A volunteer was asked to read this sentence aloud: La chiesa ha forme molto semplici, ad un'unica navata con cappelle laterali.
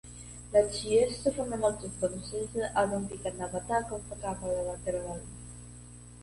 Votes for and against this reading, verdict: 0, 2, rejected